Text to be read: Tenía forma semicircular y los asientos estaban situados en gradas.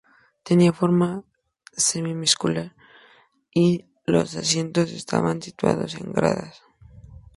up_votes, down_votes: 2, 0